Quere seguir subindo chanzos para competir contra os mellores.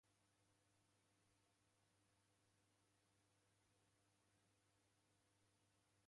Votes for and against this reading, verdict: 0, 2, rejected